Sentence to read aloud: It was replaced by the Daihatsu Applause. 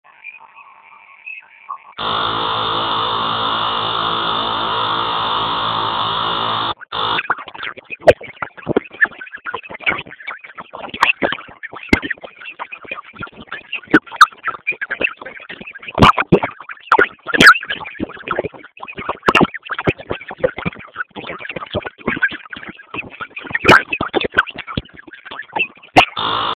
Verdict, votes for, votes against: rejected, 0, 4